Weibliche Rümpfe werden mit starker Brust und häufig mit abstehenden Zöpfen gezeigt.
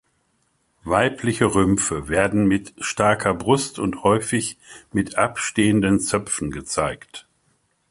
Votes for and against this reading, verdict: 2, 1, accepted